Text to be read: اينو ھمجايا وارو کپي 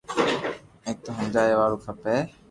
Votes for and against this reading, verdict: 3, 0, accepted